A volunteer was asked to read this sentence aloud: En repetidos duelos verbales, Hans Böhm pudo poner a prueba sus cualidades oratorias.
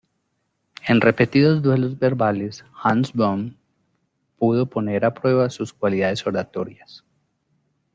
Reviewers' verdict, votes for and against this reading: accepted, 2, 0